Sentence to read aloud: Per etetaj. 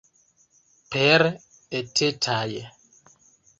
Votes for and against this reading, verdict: 2, 0, accepted